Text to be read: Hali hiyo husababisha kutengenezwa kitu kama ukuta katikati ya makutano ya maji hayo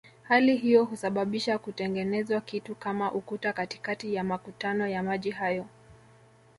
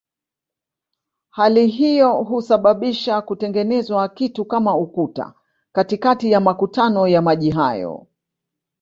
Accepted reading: first